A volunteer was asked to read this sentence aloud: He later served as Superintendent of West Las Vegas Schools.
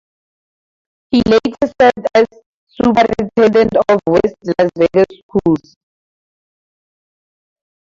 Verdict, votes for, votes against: rejected, 0, 2